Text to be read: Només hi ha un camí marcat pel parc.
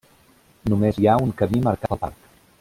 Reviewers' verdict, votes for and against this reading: rejected, 0, 2